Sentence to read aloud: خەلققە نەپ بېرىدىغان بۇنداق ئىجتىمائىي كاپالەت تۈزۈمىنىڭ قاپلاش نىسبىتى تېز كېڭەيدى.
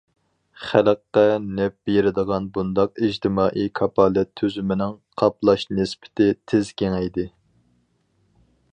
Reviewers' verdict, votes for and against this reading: accepted, 4, 0